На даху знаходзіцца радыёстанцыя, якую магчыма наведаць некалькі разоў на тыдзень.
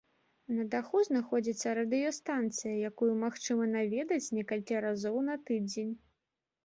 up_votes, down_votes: 1, 2